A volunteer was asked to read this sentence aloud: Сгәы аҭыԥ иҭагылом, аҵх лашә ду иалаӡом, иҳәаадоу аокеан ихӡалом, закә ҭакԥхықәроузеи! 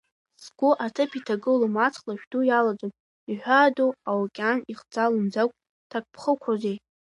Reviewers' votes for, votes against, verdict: 3, 0, accepted